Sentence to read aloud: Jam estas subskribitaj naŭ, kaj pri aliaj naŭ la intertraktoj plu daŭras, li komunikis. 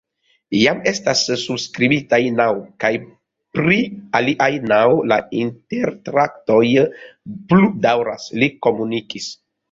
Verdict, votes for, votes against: rejected, 1, 2